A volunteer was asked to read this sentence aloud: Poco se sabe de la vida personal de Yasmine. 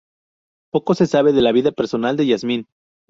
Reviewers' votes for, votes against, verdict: 2, 0, accepted